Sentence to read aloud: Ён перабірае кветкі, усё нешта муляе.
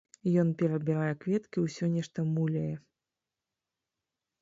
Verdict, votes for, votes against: rejected, 1, 2